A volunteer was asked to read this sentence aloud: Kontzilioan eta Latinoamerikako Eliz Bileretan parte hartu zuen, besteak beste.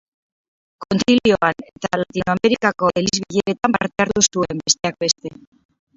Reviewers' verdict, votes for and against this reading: rejected, 0, 4